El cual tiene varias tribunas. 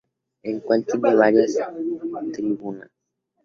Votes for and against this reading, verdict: 0, 2, rejected